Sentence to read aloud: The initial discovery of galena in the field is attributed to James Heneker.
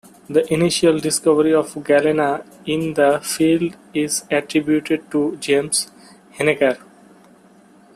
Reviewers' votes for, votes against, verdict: 2, 1, accepted